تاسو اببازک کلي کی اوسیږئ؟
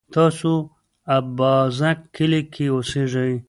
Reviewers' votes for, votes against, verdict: 1, 2, rejected